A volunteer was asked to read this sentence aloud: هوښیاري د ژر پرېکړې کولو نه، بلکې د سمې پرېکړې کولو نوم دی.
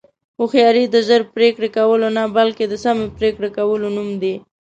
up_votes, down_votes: 2, 0